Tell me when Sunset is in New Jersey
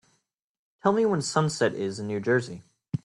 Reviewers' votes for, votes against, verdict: 2, 0, accepted